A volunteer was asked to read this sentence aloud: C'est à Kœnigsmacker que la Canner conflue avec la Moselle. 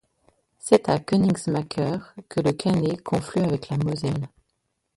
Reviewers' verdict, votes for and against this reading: rejected, 0, 2